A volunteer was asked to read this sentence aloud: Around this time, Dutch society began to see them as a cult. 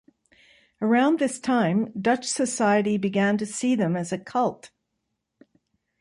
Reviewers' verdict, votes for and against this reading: accepted, 2, 0